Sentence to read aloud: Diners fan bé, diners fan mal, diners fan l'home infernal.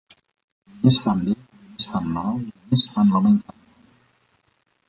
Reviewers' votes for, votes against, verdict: 0, 2, rejected